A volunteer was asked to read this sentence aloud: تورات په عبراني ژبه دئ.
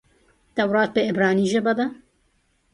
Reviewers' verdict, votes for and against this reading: accepted, 3, 0